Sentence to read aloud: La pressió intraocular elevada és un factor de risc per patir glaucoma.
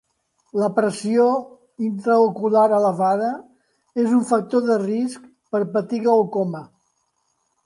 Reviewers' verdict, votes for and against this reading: accepted, 2, 0